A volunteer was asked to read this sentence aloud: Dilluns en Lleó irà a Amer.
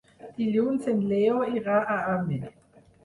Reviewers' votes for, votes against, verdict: 2, 4, rejected